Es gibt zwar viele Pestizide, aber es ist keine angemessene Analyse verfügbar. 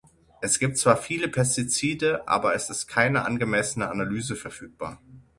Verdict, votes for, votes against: accepted, 6, 0